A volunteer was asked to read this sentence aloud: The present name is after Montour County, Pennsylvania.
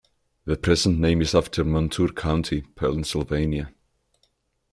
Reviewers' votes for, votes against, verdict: 2, 0, accepted